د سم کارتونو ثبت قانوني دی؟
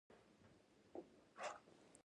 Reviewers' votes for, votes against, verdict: 0, 2, rejected